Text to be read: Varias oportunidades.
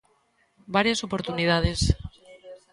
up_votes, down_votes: 2, 0